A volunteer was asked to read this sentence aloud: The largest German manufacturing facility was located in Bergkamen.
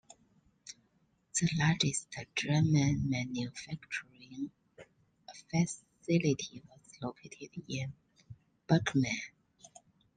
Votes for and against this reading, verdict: 2, 0, accepted